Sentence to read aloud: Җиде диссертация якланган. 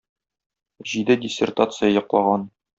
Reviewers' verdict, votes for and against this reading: rejected, 0, 2